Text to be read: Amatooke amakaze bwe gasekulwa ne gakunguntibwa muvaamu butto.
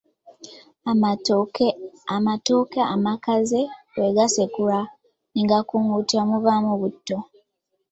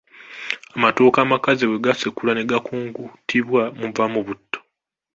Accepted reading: second